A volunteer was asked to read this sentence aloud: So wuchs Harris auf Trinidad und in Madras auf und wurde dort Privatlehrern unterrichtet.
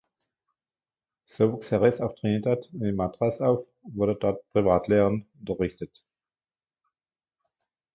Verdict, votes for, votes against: rejected, 0, 2